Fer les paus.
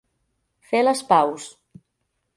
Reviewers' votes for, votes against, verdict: 2, 0, accepted